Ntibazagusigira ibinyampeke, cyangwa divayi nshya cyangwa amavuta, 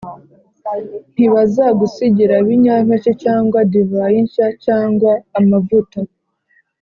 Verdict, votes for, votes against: accepted, 2, 0